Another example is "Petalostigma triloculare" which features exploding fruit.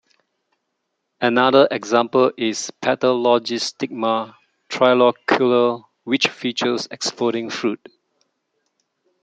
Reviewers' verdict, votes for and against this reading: rejected, 1, 2